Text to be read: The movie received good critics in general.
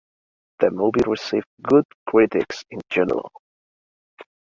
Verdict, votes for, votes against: accepted, 2, 1